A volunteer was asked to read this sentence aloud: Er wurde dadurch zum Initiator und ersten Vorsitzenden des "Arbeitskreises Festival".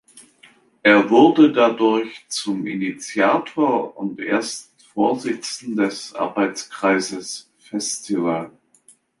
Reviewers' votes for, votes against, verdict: 1, 3, rejected